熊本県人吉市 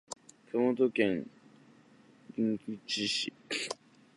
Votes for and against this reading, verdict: 1, 2, rejected